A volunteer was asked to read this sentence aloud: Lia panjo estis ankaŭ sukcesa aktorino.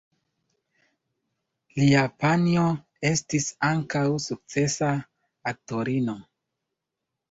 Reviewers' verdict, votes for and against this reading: rejected, 1, 2